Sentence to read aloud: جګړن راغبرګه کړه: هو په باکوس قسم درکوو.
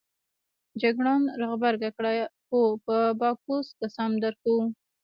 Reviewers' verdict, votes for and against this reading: rejected, 0, 2